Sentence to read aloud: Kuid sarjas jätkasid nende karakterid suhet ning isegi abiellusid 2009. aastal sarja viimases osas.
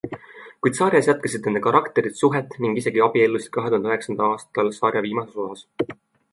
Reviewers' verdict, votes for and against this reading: rejected, 0, 2